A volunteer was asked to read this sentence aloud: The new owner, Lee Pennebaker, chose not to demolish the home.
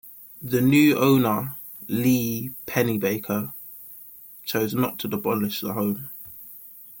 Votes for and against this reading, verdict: 2, 0, accepted